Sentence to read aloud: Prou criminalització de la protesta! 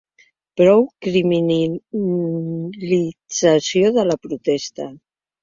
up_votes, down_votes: 2, 3